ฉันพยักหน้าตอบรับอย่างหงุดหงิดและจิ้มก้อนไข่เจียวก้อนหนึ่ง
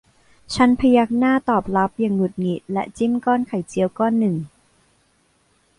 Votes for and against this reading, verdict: 1, 2, rejected